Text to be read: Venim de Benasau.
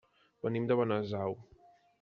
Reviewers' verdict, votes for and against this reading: accepted, 3, 0